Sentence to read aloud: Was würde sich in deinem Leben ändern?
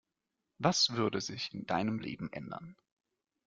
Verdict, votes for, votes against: accepted, 2, 0